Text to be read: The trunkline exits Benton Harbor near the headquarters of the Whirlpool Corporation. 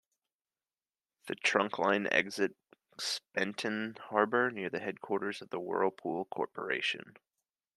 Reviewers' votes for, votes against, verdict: 1, 2, rejected